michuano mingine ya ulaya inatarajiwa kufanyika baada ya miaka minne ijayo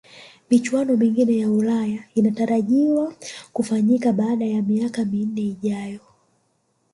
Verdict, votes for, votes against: accepted, 3, 2